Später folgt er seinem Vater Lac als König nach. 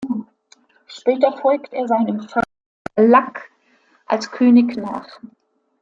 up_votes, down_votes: 0, 3